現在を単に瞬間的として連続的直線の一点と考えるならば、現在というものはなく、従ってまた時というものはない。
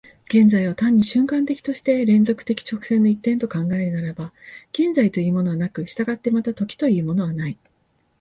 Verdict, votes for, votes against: accepted, 3, 0